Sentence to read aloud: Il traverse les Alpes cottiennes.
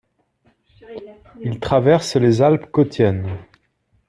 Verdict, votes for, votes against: rejected, 1, 2